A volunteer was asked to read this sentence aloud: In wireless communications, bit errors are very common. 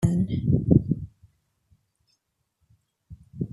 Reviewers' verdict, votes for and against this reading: rejected, 0, 2